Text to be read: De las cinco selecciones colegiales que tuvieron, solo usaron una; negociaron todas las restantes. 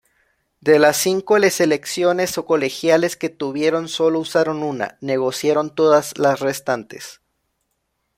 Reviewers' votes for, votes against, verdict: 1, 2, rejected